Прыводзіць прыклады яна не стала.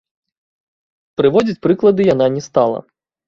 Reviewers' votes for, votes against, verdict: 0, 2, rejected